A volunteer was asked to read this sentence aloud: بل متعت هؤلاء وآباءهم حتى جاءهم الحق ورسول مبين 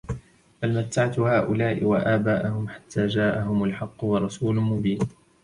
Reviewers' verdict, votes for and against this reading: accepted, 2, 0